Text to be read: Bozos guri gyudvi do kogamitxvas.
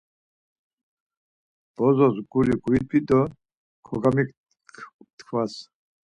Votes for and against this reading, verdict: 0, 4, rejected